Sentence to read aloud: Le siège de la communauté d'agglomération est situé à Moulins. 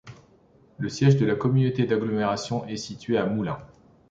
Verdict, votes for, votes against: accepted, 2, 0